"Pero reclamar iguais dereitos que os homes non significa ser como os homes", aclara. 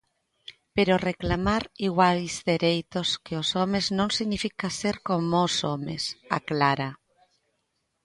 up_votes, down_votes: 2, 0